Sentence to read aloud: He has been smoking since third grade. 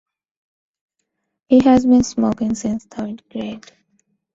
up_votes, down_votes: 2, 0